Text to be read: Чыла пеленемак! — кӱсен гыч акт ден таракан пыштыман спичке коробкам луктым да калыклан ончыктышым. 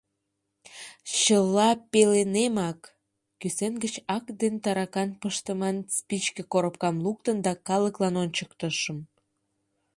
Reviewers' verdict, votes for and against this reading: rejected, 1, 2